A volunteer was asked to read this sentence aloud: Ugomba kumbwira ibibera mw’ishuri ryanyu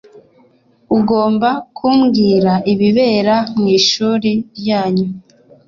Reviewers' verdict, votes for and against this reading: accepted, 2, 0